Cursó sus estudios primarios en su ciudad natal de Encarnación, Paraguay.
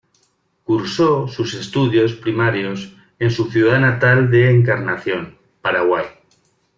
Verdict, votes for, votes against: accepted, 2, 0